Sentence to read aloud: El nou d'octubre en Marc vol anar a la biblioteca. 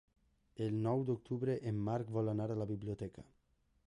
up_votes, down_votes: 3, 0